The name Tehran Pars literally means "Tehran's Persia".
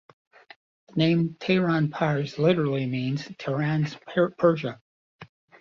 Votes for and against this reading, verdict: 2, 0, accepted